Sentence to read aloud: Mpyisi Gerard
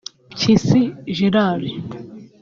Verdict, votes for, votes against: accepted, 2, 0